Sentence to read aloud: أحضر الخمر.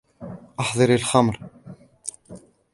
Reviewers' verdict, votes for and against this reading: accepted, 2, 0